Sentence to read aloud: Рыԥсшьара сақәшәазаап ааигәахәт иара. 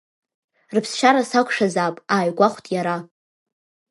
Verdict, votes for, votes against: accepted, 2, 0